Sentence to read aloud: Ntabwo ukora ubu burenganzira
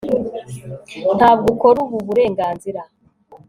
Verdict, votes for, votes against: accepted, 2, 1